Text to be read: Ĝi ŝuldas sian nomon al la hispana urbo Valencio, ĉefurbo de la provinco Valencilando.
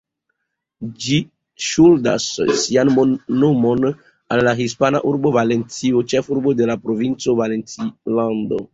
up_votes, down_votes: 0, 2